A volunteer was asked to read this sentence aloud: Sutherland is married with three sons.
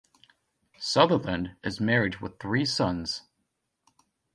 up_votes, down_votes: 2, 0